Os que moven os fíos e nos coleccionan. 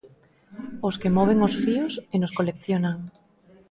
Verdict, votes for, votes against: accepted, 2, 0